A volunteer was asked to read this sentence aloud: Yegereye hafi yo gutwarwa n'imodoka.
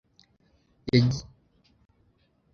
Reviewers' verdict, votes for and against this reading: rejected, 0, 2